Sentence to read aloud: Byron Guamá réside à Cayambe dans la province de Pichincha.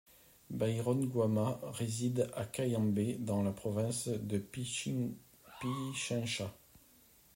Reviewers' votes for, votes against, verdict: 1, 2, rejected